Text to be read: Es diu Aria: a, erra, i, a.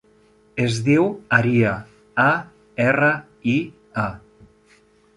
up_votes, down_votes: 0, 2